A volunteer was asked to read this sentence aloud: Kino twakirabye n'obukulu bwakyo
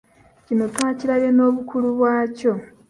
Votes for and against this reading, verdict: 2, 0, accepted